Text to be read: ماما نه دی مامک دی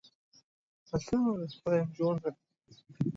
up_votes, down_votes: 0, 2